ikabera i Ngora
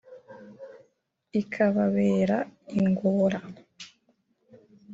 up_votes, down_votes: 0, 2